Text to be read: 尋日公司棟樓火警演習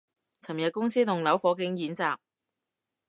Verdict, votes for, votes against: accepted, 2, 0